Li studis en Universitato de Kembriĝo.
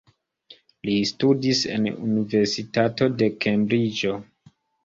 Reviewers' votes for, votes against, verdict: 2, 1, accepted